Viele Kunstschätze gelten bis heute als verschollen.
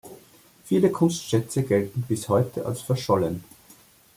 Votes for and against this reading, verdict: 2, 0, accepted